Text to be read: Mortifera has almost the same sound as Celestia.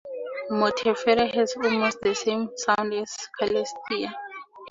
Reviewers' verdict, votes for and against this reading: rejected, 2, 4